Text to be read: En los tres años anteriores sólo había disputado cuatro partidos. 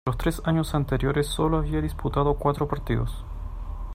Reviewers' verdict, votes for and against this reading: rejected, 0, 2